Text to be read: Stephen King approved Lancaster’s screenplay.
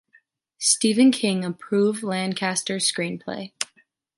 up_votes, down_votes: 2, 0